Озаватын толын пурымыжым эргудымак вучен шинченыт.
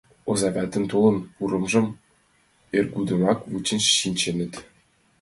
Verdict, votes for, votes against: accepted, 2, 0